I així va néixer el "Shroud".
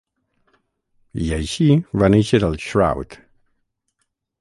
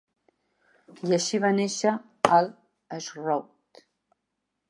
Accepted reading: second